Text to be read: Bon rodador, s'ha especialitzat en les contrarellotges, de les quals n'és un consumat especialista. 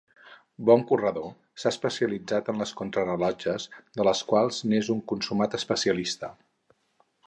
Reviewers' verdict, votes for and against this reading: rejected, 2, 4